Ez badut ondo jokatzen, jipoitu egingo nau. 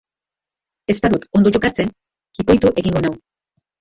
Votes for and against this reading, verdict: 0, 2, rejected